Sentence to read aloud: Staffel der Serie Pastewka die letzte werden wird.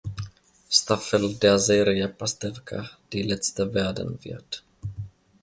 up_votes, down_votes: 3, 0